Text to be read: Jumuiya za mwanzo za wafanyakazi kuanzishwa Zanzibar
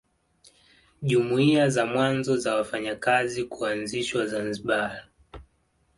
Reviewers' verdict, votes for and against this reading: accepted, 2, 0